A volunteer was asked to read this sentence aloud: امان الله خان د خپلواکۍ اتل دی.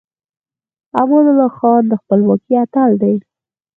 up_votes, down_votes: 4, 2